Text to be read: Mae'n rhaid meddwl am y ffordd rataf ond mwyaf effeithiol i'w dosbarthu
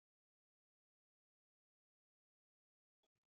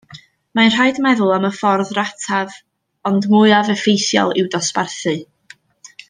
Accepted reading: second